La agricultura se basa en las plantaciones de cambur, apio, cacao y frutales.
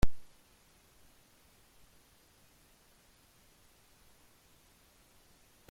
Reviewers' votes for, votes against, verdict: 0, 2, rejected